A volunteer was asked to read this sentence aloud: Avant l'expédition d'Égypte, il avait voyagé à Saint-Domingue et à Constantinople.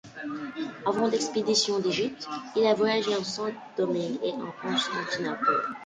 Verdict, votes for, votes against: rejected, 0, 2